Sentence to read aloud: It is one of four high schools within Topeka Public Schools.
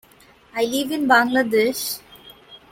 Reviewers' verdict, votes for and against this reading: rejected, 0, 2